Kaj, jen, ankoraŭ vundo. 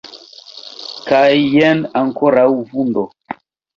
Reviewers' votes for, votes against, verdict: 2, 0, accepted